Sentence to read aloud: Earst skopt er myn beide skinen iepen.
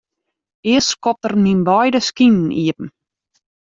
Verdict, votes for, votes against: accepted, 2, 0